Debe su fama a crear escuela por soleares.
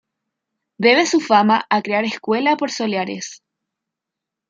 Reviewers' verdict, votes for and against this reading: accepted, 2, 0